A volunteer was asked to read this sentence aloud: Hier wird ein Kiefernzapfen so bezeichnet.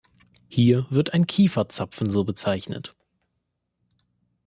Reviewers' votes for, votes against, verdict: 1, 2, rejected